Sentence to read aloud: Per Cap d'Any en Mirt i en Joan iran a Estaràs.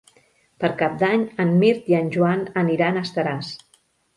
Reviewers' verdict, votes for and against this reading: rejected, 0, 2